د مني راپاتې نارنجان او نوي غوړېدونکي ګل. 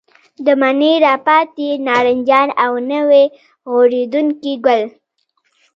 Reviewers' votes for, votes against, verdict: 1, 2, rejected